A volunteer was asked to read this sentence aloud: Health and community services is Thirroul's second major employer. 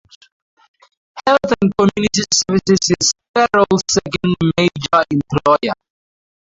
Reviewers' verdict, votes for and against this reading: rejected, 0, 2